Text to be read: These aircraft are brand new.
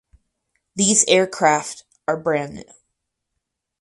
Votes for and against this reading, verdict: 2, 2, rejected